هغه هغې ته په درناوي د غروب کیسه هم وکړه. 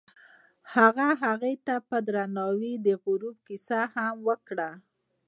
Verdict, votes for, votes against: rejected, 1, 2